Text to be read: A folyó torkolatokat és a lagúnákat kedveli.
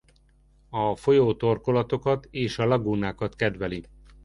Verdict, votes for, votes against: accepted, 2, 0